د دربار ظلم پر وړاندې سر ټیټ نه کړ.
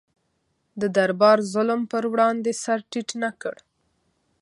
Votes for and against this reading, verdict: 2, 0, accepted